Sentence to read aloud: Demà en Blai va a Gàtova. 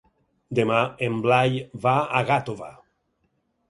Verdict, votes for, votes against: accepted, 4, 0